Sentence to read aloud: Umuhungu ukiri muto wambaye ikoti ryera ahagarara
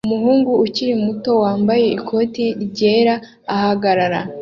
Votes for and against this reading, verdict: 2, 0, accepted